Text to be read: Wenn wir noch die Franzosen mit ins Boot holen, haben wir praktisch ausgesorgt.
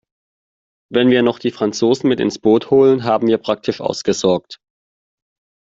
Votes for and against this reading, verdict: 2, 0, accepted